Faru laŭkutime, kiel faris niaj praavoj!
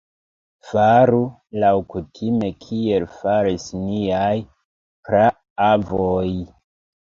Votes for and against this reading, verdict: 1, 2, rejected